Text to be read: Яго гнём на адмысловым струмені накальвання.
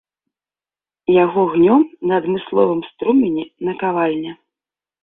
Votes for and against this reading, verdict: 1, 2, rejected